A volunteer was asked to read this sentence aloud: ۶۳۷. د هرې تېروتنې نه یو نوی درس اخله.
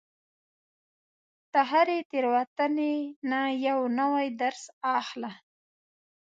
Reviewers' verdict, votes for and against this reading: rejected, 0, 2